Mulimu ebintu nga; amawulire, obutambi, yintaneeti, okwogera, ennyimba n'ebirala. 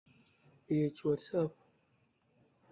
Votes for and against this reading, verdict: 0, 2, rejected